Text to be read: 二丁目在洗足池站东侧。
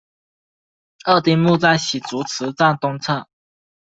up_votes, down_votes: 2, 1